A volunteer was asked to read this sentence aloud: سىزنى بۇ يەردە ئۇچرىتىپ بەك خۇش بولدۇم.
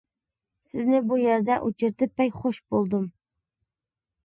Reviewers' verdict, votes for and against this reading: accepted, 2, 0